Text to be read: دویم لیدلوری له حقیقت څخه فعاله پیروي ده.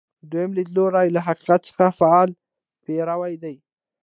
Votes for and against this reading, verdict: 2, 1, accepted